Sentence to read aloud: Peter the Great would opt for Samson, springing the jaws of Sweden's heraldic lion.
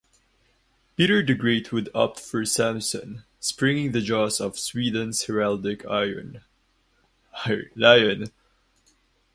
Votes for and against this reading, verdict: 2, 2, rejected